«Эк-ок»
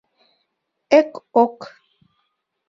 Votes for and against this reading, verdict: 2, 0, accepted